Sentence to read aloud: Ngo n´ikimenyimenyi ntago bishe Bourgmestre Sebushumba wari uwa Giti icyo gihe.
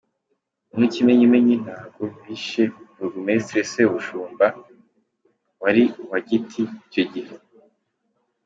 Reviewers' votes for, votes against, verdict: 3, 0, accepted